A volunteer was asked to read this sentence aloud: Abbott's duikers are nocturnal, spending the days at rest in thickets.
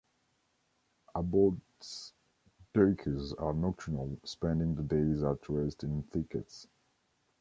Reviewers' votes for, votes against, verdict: 2, 0, accepted